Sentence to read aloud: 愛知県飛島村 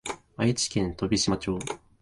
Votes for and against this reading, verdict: 1, 2, rejected